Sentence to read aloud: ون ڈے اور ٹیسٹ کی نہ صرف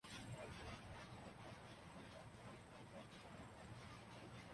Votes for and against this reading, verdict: 0, 2, rejected